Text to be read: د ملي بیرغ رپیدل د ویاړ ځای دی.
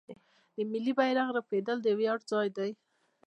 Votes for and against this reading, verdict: 2, 1, accepted